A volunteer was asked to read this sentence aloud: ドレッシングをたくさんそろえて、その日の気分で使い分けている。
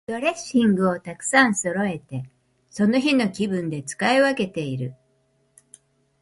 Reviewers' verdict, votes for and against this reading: accepted, 2, 0